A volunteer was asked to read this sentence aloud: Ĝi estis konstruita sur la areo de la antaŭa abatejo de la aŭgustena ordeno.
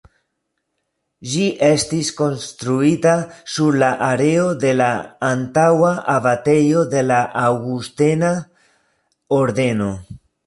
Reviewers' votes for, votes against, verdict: 2, 0, accepted